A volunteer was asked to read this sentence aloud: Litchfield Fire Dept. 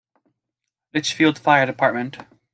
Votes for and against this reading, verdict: 2, 0, accepted